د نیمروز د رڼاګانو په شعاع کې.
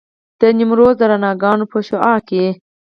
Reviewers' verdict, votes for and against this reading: rejected, 0, 4